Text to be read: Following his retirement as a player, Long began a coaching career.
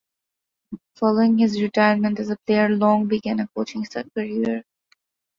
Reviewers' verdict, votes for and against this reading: rejected, 0, 2